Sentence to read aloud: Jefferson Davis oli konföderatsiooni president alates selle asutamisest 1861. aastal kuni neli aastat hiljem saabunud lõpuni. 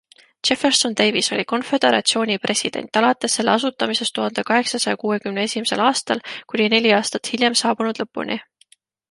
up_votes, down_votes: 0, 2